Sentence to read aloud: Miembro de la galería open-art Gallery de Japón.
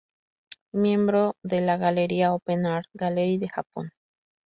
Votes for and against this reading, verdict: 2, 0, accepted